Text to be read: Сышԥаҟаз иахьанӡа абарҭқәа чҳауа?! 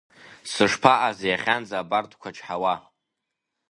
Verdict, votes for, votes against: rejected, 0, 2